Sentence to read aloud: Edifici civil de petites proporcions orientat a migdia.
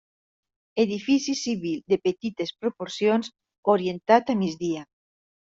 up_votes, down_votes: 1, 2